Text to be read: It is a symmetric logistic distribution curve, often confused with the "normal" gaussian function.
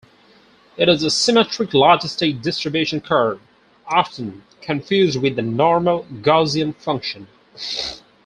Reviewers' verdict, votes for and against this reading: rejected, 2, 2